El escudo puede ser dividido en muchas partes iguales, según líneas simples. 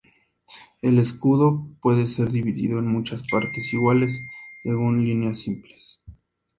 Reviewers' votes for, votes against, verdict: 2, 0, accepted